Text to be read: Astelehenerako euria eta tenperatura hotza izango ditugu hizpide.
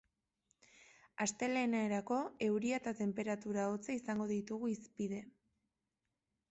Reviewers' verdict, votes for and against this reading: accepted, 2, 1